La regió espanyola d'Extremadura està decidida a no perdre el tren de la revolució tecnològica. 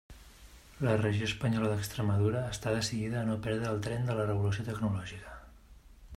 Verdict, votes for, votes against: rejected, 0, 2